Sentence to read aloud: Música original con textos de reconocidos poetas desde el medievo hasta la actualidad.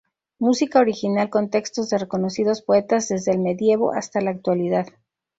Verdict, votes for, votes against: accepted, 2, 0